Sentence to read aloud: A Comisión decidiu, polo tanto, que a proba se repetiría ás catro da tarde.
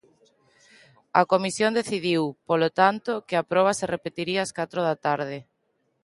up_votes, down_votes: 2, 0